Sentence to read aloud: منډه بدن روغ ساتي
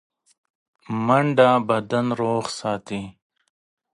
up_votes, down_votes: 2, 0